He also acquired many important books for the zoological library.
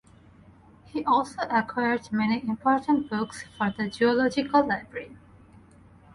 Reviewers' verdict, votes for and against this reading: accepted, 4, 0